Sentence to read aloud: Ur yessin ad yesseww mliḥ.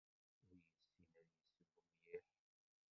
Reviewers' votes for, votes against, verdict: 0, 2, rejected